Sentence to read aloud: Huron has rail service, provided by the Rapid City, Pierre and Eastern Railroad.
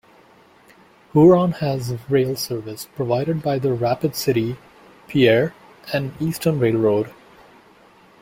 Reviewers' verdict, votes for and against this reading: accepted, 2, 0